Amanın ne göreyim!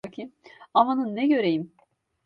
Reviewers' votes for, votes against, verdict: 0, 2, rejected